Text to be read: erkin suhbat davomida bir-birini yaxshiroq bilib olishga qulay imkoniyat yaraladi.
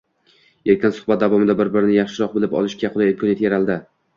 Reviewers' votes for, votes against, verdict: 2, 0, accepted